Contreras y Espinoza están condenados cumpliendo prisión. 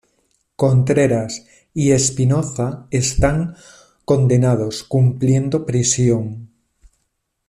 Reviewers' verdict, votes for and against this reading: accepted, 2, 0